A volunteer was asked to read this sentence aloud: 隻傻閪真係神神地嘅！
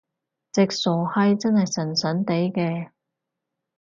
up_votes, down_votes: 2, 0